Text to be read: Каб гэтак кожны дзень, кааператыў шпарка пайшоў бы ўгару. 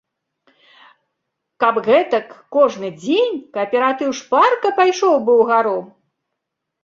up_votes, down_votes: 2, 0